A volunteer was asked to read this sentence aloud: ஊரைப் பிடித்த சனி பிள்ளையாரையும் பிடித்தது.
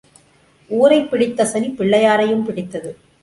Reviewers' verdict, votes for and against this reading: accepted, 3, 0